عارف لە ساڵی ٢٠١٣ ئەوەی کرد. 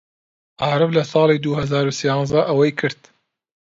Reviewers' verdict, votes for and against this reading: rejected, 0, 2